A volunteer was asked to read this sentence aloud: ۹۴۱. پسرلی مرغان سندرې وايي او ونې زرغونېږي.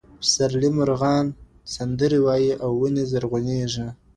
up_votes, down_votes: 0, 2